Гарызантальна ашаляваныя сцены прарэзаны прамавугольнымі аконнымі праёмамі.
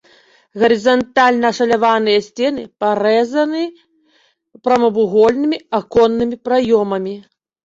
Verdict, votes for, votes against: rejected, 2, 3